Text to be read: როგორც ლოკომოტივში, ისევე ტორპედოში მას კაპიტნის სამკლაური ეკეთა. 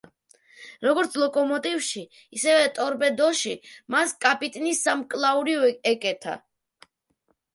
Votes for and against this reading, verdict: 0, 2, rejected